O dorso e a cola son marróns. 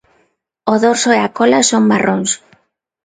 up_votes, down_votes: 2, 0